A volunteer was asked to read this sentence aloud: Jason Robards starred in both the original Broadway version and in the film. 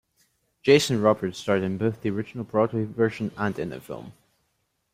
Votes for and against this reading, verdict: 2, 0, accepted